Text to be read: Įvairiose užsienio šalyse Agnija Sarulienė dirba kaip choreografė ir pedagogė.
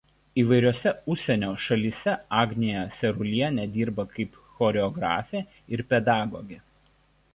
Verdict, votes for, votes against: accepted, 2, 0